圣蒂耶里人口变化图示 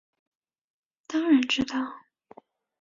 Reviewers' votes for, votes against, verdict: 0, 2, rejected